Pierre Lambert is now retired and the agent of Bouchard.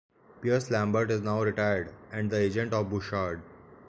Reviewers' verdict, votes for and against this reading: rejected, 0, 2